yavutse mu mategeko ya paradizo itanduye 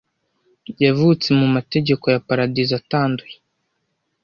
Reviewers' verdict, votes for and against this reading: rejected, 1, 2